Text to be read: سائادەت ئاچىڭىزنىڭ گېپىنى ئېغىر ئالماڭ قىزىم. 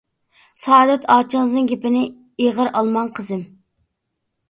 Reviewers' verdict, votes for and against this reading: accepted, 2, 0